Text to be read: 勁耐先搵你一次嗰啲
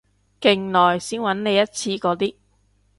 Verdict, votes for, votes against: accepted, 2, 0